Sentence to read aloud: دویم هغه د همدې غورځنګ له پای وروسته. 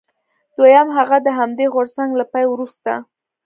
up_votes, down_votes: 2, 0